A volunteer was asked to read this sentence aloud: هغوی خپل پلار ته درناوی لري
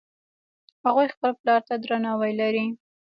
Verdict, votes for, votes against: rejected, 0, 2